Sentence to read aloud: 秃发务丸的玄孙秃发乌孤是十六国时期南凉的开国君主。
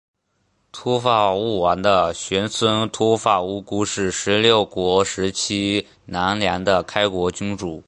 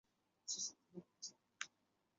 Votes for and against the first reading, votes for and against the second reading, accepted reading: 2, 0, 0, 3, first